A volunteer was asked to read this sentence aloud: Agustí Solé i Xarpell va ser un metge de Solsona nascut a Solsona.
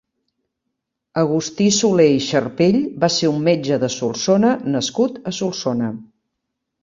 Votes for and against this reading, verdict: 3, 0, accepted